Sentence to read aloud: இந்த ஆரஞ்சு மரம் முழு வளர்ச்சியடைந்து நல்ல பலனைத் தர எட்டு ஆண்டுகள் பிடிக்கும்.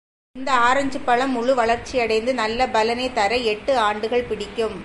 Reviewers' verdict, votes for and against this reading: rejected, 0, 2